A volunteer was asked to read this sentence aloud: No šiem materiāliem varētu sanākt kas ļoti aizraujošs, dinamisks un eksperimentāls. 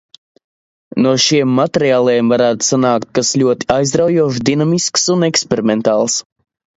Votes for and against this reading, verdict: 2, 0, accepted